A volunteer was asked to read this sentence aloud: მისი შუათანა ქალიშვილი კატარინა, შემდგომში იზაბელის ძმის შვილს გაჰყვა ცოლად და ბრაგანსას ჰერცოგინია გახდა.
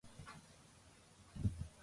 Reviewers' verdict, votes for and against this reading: rejected, 0, 2